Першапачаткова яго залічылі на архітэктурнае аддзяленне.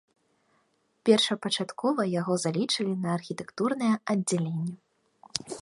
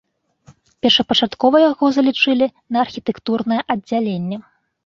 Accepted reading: second